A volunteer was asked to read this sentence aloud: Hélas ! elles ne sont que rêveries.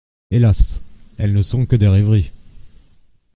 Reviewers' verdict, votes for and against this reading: rejected, 0, 2